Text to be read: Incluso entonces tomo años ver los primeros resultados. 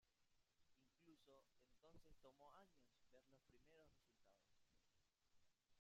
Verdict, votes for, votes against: rejected, 0, 2